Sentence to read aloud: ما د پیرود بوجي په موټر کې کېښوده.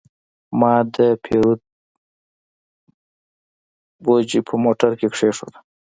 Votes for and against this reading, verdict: 1, 2, rejected